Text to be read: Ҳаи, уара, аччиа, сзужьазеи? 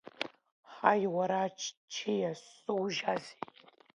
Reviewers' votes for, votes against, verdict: 2, 0, accepted